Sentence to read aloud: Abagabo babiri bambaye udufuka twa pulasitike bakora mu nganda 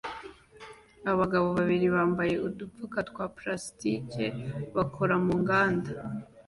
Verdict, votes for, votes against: rejected, 1, 2